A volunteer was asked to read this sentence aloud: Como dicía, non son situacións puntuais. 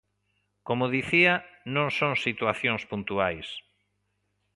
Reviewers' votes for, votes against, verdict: 2, 0, accepted